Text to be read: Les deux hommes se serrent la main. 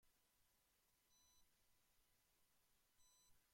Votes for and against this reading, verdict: 0, 2, rejected